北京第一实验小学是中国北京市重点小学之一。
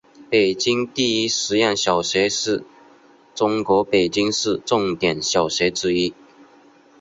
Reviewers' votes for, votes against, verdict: 2, 1, accepted